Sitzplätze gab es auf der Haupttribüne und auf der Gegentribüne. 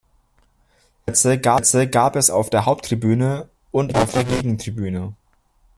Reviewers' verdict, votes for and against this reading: rejected, 0, 2